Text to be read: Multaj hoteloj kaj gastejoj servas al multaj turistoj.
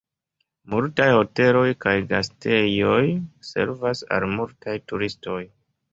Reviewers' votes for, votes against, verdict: 5, 0, accepted